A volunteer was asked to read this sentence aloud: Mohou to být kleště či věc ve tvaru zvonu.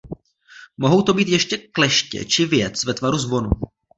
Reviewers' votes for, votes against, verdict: 0, 2, rejected